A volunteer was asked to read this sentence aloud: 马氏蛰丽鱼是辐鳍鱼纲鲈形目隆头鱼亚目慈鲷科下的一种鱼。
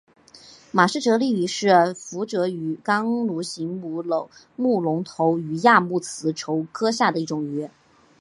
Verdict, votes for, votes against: accepted, 2, 1